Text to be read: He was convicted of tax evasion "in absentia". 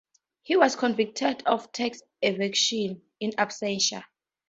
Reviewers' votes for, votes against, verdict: 2, 2, rejected